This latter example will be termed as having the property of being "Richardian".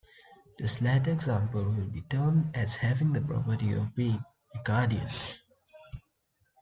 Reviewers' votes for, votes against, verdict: 1, 2, rejected